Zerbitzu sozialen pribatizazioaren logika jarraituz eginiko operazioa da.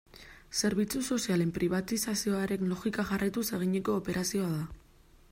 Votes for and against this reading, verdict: 2, 0, accepted